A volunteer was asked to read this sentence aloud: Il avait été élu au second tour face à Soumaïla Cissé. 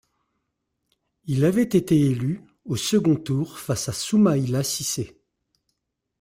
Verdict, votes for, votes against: accepted, 2, 1